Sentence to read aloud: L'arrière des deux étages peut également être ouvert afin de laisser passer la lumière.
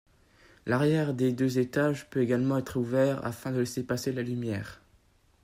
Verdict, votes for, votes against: accepted, 2, 0